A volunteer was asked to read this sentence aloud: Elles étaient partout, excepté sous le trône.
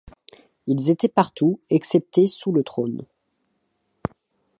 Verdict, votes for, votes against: rejected, 1, 2